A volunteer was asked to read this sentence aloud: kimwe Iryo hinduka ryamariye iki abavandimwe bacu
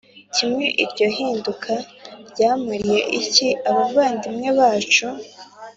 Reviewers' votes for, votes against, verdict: 2, 0, accepted